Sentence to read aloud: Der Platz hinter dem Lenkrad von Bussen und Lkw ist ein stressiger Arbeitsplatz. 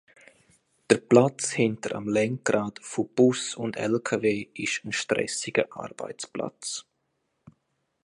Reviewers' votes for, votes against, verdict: 0, 2, rejected